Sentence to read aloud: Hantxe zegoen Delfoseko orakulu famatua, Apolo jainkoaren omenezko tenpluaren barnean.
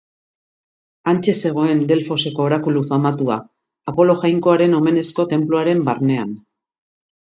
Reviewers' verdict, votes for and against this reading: accepted, 2, 0